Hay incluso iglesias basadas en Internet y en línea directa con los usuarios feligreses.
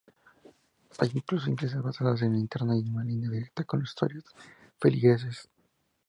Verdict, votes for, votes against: accepted, 2, 0